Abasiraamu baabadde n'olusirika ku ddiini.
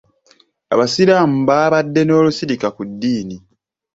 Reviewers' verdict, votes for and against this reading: accepted, 2, 0